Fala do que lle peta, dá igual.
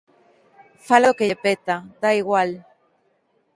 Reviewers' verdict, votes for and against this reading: rejected, 0, 2